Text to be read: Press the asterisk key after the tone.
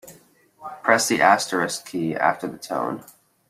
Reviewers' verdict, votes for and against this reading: accepted, 2, 0